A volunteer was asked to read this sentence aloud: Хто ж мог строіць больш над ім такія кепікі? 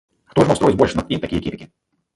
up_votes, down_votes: 1, 3